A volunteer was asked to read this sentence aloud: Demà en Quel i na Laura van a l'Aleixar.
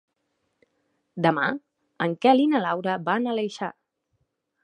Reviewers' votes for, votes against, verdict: 1, 2, rejected